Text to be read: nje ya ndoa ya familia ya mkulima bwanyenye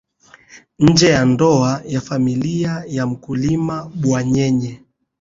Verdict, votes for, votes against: accepted, 2, 0